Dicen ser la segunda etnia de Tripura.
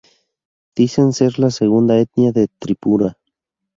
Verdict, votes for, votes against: rejected, 0, 2